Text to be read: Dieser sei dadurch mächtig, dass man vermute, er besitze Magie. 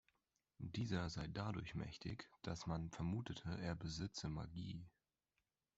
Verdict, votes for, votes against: rejected, 1, 2